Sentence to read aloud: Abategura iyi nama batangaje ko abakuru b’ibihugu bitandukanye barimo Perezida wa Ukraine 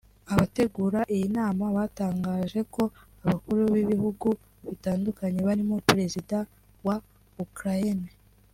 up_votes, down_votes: 1, 2